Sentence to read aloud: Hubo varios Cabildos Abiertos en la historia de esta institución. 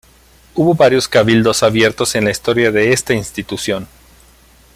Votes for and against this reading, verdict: 0, 2, rejected